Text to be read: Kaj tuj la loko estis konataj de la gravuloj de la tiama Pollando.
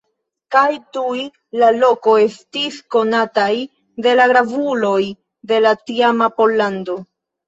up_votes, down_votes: 2, 0